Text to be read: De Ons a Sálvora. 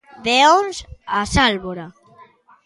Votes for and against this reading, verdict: 2, 0, accepted